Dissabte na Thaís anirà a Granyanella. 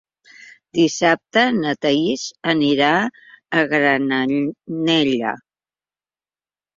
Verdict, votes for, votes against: rejected, 0, 2